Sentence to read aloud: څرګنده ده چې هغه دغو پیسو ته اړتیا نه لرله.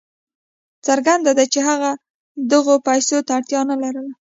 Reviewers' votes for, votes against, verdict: 0, 2, rejected